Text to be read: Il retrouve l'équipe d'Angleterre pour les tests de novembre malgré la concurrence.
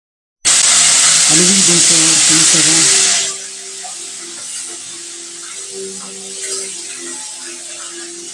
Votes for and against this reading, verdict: 0, 2, rejected